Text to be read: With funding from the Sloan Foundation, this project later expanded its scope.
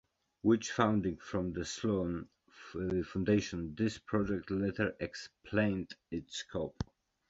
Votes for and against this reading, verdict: 1, 2, rejected